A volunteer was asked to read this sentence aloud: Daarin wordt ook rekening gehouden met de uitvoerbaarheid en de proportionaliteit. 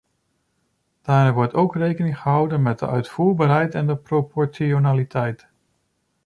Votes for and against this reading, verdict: 0, 2, rejected